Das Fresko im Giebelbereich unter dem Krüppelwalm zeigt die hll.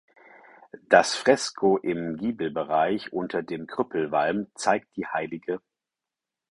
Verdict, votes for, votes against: accepted, 4, 2